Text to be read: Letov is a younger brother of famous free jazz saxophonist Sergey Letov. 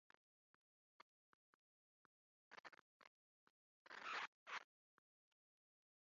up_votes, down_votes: 0, 2